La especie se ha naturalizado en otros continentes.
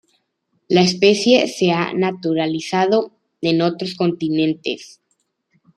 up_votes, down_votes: 2, 0